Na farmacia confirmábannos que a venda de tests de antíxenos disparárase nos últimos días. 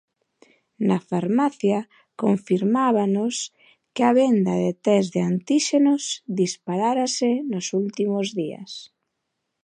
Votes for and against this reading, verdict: 2, 1, accepted